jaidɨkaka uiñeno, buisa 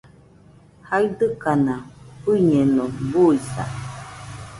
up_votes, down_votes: 2, 0